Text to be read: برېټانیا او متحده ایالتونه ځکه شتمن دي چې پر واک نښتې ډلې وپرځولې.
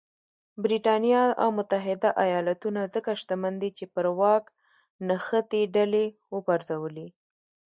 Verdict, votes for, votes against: rejected, 0, 2